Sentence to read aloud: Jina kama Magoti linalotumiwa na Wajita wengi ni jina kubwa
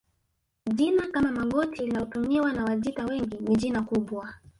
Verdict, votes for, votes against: rejected, 1, 2